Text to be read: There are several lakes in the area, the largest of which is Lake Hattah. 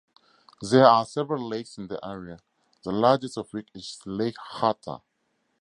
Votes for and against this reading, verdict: 2, 0, accepted